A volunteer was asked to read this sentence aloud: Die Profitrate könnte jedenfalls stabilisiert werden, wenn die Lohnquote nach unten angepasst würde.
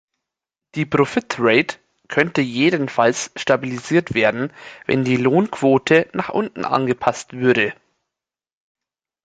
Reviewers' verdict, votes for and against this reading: rejected, 1, 2